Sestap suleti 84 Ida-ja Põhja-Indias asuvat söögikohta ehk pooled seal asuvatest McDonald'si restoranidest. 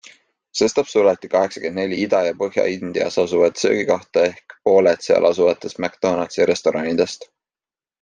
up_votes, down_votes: 0, 2